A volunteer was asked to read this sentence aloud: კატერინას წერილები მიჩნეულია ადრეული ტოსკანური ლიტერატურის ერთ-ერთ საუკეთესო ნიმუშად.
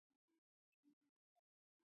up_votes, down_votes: 2, 1